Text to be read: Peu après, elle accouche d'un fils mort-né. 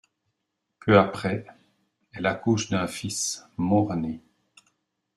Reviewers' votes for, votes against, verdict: 2, 0, accepted